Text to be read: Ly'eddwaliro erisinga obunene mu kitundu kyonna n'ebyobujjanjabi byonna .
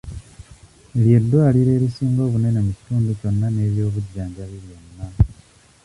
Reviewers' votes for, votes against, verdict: 1, 2, rejected